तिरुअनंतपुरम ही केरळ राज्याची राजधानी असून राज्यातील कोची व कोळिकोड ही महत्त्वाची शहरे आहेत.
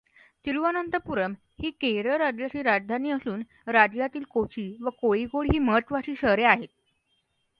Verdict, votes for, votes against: accepted, 2, 0